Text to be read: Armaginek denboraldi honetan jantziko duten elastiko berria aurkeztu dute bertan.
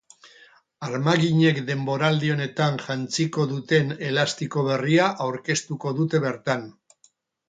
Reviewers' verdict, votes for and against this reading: rejected, 2, 2